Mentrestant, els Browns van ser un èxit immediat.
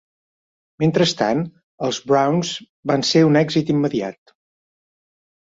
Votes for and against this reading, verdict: 3, 0, accepted